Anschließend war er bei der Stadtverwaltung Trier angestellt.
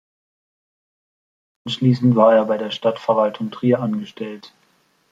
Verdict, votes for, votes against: rejected, 0, 2